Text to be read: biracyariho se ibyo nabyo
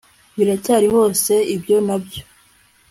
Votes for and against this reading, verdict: 2, 0, accepted